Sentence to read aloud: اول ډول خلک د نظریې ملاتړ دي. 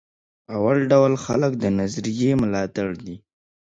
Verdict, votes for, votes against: accepted, 2, 0